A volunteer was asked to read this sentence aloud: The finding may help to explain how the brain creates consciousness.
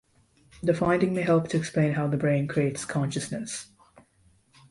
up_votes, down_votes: 2, 0